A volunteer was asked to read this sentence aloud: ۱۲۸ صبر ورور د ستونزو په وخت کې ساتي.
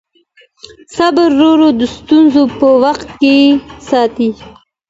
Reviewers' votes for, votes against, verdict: 0, 2, rejected